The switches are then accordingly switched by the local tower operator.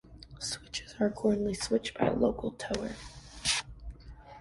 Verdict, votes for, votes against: rejected, 1, 2